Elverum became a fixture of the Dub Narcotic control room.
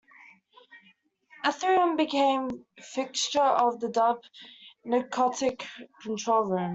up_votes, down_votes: 0, 2